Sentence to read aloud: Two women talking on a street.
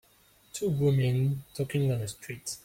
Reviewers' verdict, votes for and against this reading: rejected, 1, 2